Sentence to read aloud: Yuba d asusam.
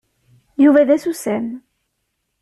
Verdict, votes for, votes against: accepted, 2, 0